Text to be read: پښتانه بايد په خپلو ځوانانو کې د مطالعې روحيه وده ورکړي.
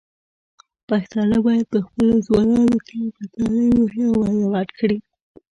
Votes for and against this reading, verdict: 1, 2, rejected